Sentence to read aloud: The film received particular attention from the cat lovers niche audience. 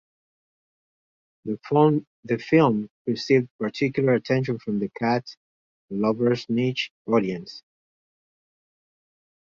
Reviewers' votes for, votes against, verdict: 0, 2, rejected